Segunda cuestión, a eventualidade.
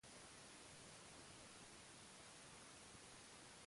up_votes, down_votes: 0, 2